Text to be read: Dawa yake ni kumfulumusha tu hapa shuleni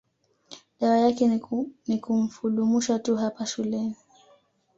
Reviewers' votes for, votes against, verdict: 1, 2, rejected